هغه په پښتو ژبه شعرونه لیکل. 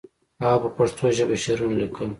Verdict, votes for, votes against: accepted, 2, 0